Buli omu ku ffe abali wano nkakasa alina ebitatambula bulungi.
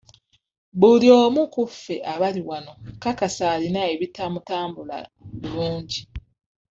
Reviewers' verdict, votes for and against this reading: rejected, 1, 2